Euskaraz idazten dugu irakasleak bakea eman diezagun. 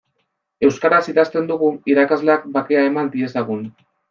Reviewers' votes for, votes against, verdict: 2, 0, accepted